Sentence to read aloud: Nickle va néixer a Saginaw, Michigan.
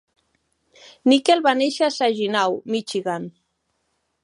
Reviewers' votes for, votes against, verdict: 2, 0, accepted